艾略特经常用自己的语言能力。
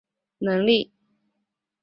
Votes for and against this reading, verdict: 1, 6, rejected